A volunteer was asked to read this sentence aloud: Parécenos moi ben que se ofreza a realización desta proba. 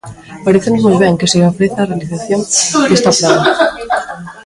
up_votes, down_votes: 0, 2